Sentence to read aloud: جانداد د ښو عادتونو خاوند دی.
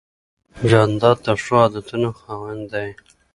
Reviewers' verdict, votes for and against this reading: accepted, 2, 0